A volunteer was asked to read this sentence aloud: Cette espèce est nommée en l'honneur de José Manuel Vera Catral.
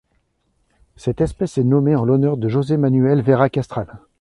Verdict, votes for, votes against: rejected, 0, 2